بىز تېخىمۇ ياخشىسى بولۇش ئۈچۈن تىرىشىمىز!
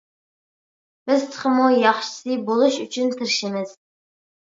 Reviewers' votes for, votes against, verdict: 2, 0, accepted